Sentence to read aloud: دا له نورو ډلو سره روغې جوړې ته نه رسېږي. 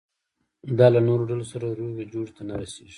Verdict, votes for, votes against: rejected, 1, 2